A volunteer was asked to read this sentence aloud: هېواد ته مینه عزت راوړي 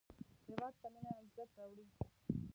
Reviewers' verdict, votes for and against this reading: rejected, 0, 2